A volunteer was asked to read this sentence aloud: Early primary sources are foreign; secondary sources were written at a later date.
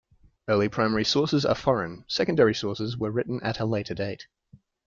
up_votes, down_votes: 3, 0